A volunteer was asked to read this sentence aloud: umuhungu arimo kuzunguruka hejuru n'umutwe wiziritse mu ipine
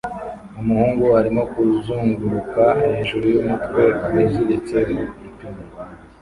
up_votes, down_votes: 0, 2